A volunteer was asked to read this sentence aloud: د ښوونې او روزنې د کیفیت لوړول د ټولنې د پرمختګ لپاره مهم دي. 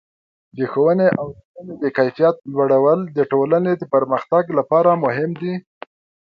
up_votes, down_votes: 2, 0